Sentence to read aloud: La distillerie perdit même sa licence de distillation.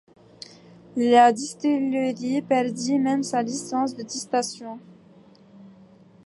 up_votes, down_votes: 0, 2